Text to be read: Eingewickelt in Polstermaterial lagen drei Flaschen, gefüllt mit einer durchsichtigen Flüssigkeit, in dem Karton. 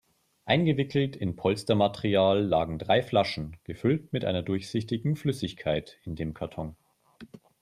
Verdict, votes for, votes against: accepted, 4, 0